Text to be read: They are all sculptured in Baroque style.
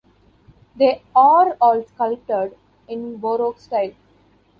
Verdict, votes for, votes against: rejected, 1, 2